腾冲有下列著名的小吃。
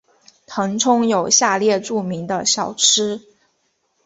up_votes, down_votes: 2, 0